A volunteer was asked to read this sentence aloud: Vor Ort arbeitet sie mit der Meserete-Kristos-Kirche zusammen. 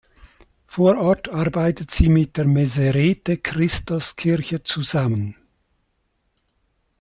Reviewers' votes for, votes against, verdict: 2, 0, accepted